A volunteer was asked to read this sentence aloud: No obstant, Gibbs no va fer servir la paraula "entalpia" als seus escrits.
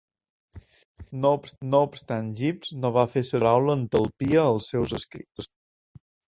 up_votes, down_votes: 0, 2